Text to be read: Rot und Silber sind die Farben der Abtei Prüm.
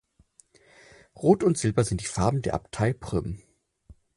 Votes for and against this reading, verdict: 4, 0, accepted